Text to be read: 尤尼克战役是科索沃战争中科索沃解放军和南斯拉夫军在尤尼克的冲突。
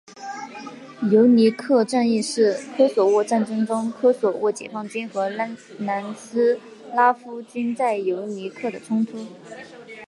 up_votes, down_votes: 1, 2